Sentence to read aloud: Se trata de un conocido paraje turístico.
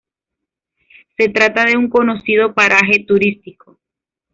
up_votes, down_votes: 2, 0